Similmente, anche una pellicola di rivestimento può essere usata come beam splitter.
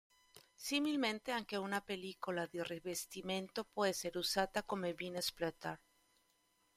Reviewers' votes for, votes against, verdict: 1, 2, rejected